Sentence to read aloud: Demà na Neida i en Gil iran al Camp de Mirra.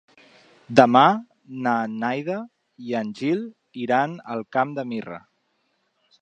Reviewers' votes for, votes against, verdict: 2, 3, rejected